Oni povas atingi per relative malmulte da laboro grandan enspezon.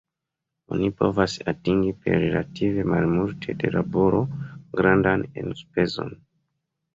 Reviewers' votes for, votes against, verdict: 1, 2, rejected